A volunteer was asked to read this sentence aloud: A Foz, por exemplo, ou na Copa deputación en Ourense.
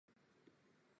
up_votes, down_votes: 0, 4